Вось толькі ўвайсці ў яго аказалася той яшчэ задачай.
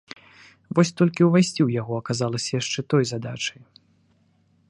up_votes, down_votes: 0, 2